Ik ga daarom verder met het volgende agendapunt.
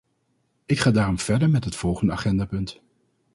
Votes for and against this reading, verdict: 2, 0, accepted